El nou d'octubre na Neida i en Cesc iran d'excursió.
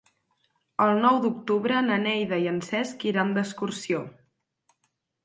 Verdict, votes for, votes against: accepted, 6, 0